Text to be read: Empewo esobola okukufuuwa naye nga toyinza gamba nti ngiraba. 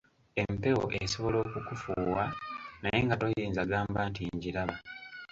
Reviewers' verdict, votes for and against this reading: accepted, 2, 1